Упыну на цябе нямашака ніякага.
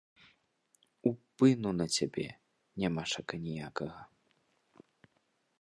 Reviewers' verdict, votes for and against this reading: accepted, 2, 0